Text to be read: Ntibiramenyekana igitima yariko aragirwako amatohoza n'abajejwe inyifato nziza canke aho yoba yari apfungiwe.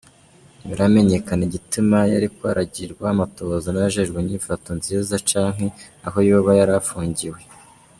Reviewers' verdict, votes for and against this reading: accepted, 2, 1